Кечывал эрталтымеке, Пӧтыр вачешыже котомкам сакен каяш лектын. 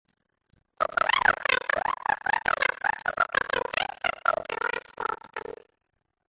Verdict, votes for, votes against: rejected, 0, 2